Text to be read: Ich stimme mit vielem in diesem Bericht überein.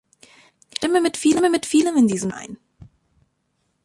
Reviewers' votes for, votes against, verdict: 0, 2, rejected